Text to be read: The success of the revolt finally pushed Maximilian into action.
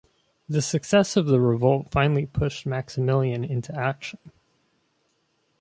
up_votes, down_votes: 2, 0